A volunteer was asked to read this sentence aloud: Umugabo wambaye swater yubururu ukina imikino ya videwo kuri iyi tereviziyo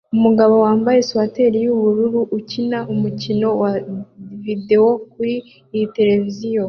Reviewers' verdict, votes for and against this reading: accepted, 2, 0